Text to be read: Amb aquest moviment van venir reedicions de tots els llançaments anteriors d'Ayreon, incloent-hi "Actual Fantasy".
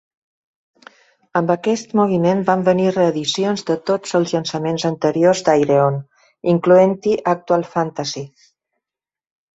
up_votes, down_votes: 2, 0